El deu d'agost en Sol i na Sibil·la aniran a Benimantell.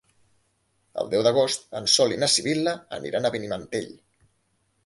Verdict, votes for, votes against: accepted, 2, 0